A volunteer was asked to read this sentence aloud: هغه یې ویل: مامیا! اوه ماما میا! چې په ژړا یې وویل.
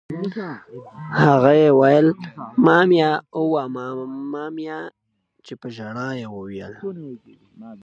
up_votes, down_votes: 2, 0